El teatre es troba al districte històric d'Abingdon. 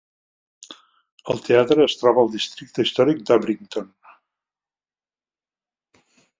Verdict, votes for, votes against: rejected, 1, 2